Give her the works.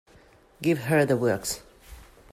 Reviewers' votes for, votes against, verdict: 2, 0, accepted